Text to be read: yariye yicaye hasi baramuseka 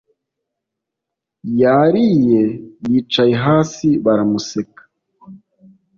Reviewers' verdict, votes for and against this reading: accepted, 2, 0